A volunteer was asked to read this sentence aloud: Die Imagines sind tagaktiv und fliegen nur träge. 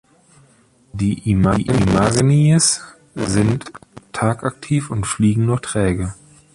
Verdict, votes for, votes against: rejected, 0, 2